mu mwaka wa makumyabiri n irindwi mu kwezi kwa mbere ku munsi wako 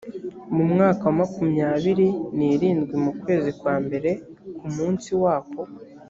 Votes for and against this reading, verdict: 2, 0, accepted